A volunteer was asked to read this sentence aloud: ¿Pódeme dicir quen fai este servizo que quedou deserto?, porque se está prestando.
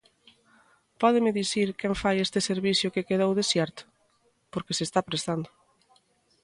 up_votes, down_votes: 0, 2